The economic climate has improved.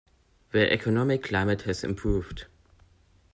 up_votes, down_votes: 2, 0